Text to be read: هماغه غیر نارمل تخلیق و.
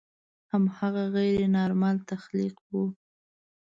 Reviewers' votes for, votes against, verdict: 2, 0, accepted